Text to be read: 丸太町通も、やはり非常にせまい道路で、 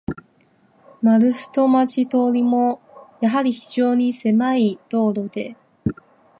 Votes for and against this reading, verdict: 2, 2, rejected